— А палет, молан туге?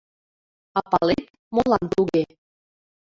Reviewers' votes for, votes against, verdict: 1, 2, rejected